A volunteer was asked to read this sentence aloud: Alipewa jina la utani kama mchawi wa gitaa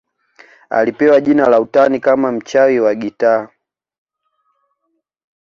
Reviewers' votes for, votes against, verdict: 1, 2, rejected